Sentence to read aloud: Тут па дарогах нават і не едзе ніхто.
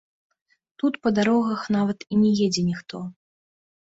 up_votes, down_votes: 1, 2